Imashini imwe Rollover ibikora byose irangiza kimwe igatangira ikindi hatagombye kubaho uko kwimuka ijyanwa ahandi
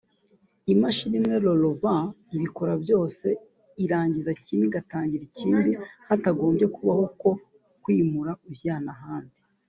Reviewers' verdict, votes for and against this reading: rejected, 1, 2